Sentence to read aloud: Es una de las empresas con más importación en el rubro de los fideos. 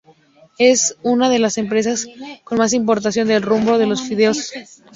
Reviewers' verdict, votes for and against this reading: rejected, 2, 2